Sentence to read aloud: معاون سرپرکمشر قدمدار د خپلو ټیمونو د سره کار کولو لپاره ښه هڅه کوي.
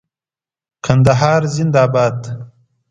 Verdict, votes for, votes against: rejected, 0, 2